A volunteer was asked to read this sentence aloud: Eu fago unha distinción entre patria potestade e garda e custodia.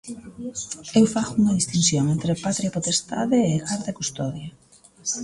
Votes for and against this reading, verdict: 1, 2, rejected